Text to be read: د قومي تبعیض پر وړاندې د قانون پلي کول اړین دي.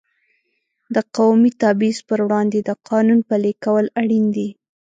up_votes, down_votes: 2, 0